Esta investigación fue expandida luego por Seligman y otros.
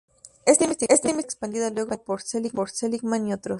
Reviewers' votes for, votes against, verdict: 0, 2, rejected